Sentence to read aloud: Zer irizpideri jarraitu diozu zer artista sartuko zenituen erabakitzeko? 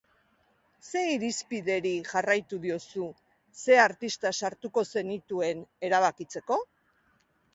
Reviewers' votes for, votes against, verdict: 1, 2, rejected